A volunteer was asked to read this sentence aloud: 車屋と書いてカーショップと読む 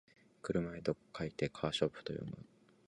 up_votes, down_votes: 2, 2